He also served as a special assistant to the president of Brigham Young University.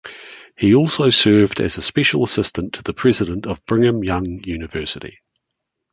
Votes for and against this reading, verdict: 1, 2, rejected